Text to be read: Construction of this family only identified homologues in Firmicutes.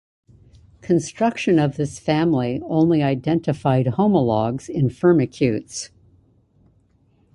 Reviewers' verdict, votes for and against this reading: accepted, 2, 0